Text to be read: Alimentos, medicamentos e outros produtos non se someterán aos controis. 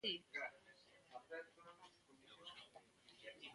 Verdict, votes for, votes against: rejected, 0, 2